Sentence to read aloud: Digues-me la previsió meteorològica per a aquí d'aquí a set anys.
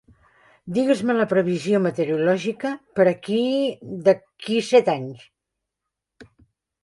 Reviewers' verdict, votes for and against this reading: accepted, 2, 1